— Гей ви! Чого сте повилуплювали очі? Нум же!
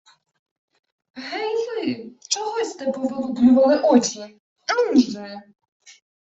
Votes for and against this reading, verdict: 1, 2, rejected